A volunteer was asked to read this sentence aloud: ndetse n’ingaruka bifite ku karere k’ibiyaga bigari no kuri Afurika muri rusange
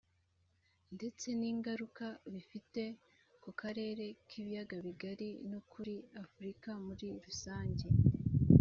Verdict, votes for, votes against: rejected, 1, 2